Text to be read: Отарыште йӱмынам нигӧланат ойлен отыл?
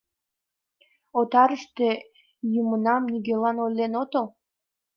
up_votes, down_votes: 2, 0